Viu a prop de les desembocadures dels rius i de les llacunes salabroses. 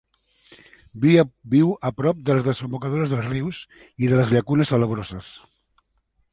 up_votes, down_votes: 0, 2